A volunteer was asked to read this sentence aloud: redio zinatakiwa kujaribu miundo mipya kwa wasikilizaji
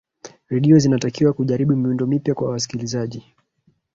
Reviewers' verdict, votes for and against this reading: rejected, 1, 2